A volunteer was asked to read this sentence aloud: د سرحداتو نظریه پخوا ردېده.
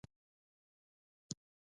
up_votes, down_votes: 2, 1